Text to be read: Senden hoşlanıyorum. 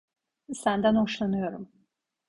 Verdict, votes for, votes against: accepted, 2, 0